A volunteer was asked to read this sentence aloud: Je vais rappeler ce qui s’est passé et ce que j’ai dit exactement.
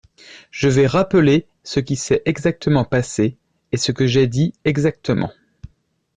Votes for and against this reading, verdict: 1, 2, rejected